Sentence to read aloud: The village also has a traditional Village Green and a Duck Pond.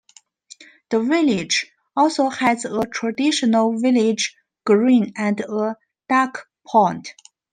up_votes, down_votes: 2, 1